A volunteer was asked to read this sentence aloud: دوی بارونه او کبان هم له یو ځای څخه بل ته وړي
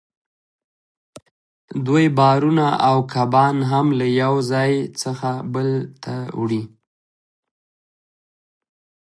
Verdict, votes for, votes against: rejected, 1, 2